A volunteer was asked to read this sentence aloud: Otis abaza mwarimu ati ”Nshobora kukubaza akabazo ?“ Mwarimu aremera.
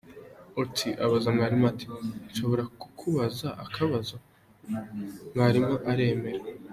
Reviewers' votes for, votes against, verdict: 2, 0, accepted